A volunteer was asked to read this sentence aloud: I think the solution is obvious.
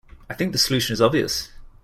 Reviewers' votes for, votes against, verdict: 2, 0, accepted